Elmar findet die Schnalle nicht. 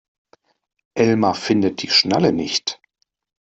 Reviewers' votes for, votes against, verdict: 2, 0, accepted